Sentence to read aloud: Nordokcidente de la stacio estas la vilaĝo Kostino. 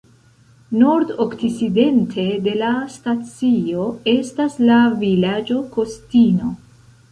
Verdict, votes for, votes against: rejected, 1, 2